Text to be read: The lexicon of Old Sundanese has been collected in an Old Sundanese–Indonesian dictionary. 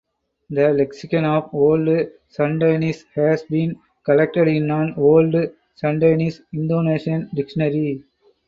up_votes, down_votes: 0, 4